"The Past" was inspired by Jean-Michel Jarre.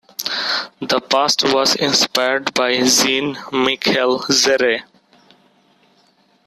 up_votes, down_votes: 0, 2